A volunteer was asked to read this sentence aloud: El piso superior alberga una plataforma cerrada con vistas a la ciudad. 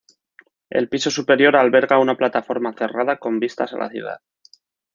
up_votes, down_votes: 1, 2